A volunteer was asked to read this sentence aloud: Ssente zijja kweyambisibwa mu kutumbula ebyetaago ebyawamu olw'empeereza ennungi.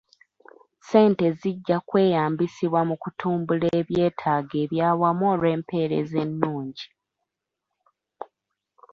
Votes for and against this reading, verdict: 2, 0, accepted